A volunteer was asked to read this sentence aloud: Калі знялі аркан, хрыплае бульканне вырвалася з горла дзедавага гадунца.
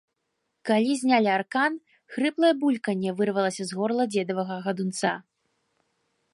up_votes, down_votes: 2, 1